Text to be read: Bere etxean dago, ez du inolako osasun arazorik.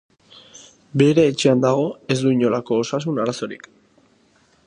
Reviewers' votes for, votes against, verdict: 3, 0, accepted